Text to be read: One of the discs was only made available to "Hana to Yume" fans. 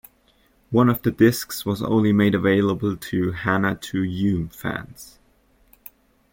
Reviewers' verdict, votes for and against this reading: accepted, 2, 0